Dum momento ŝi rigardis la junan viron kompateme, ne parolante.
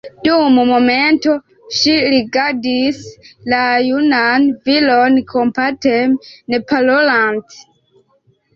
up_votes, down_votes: 2, 3